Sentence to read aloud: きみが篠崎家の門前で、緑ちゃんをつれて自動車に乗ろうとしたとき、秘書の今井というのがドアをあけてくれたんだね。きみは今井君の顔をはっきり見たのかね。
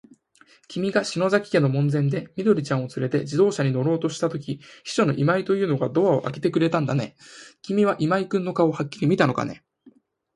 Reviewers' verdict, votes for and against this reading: accepted, 4, 0